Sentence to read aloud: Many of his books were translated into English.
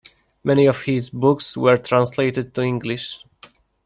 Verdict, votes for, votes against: rejected, 0, 2